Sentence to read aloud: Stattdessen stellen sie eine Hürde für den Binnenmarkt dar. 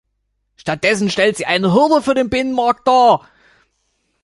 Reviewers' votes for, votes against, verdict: 0, 2, rejected